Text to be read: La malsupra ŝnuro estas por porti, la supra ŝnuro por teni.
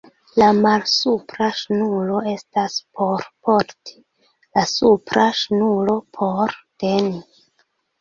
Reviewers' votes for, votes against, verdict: 1, 2, rejected